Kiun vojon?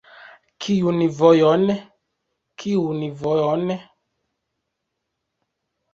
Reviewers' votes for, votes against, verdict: 0, 2, rejected